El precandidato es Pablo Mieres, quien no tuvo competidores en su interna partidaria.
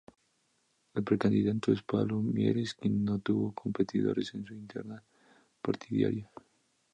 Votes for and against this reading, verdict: 2, 0, accepted